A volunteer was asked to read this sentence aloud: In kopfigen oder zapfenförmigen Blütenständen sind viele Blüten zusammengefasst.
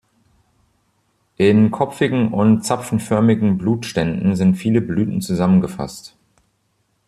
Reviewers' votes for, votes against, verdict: 0, 2, rejected